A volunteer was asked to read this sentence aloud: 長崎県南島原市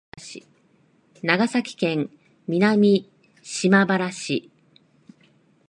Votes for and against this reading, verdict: 2, 1, accepted